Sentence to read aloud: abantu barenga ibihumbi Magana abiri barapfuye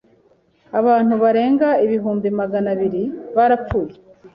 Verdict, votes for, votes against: accepted, 2, 1